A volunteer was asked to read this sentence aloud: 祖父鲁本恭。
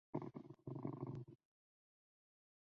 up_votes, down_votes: 0, 3